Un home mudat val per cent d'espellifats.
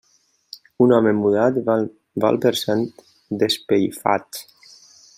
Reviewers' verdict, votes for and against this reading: rejected, 0, 2